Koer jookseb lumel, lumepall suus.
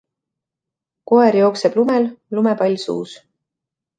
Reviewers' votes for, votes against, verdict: 2, 0, accepted